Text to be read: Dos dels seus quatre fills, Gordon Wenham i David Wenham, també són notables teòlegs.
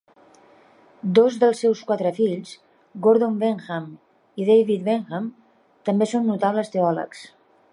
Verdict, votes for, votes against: accepted, 2, 0